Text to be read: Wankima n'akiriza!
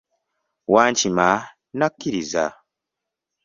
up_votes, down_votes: 2, 1